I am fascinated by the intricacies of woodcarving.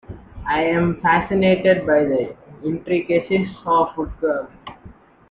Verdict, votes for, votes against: rejected, 0, 2